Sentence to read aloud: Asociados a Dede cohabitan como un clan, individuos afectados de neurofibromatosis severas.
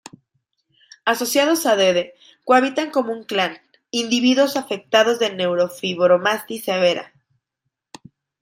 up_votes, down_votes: 0, 2